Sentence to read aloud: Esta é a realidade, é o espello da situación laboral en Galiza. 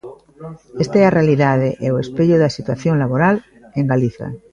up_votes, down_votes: 1, 2